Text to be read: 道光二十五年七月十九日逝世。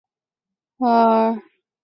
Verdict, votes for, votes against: rejected, 0, 2